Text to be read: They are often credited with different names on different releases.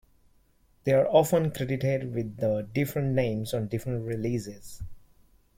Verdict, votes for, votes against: rejected, 1, 2